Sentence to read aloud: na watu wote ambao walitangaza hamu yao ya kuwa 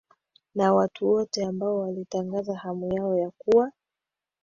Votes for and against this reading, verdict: 2, 1, accepted